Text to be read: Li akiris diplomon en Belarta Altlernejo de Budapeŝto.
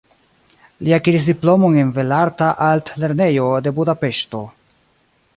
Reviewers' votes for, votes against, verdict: 2, 0, accepted